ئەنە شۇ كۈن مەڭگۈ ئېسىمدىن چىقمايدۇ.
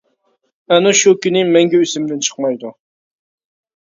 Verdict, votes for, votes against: rejected, 1, 2